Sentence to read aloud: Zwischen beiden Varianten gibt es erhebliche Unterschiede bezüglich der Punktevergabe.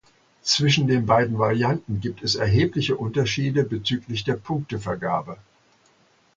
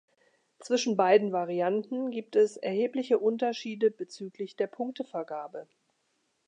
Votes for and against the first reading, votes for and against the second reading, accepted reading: 0, 2, 4, 0, second